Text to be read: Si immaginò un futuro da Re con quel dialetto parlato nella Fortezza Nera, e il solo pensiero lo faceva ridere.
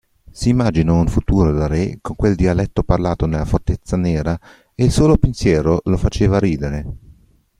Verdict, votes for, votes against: accepted, 2, 1